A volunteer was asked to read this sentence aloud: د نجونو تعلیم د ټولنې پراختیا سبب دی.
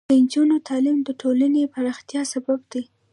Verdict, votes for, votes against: rejected, 0, 2